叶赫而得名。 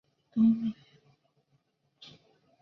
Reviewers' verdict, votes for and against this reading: rejected, 0, 2